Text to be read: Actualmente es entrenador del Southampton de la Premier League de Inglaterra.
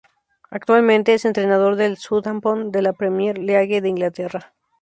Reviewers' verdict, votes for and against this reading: rejected, 2, 2